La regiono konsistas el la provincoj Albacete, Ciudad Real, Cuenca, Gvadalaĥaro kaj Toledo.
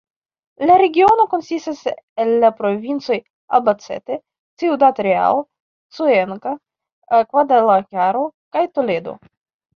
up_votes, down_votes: 0, 3